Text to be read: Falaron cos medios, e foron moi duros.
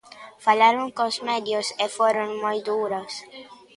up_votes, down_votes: 2, 0